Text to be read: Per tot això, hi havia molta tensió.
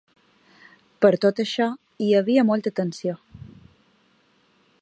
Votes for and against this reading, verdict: 3, 0, accepted